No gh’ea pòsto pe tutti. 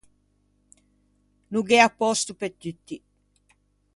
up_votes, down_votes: 2, 0